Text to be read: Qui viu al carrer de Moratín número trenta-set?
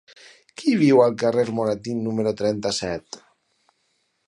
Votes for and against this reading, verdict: 2, 4, rejected